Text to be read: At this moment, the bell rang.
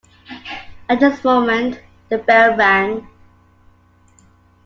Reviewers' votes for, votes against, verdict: 2, 0, accepted